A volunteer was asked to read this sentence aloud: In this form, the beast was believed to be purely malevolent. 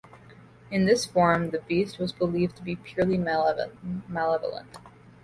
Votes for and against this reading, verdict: 0, 2, rejected